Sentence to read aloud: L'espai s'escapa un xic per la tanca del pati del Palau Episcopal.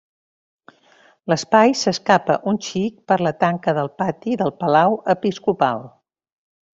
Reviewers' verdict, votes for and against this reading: accepted, 3, 0